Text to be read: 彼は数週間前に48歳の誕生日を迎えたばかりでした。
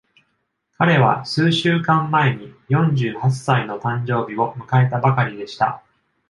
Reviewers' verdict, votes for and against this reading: rejected, 0, 2